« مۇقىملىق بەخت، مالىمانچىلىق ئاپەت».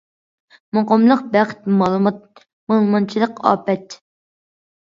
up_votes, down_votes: 0, 2